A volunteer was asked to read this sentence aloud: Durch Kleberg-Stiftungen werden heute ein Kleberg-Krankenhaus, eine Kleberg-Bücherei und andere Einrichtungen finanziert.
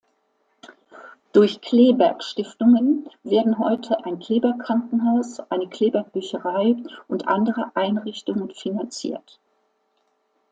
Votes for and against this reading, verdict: 2, 0, accepted